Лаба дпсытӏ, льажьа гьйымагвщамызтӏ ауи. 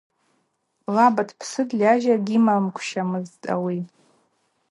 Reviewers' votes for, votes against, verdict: 2, 0, accepted